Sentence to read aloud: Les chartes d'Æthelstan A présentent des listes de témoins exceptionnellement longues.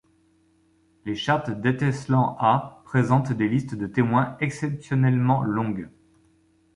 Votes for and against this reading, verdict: 0, 2, rejected